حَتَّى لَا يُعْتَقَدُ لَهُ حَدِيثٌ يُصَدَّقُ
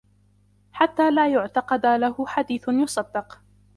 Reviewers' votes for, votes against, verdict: 1, 2, rejected